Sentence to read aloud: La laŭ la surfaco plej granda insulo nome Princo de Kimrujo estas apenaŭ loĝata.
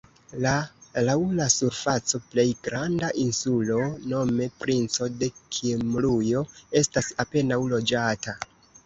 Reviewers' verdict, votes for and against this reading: accepted, 3, 1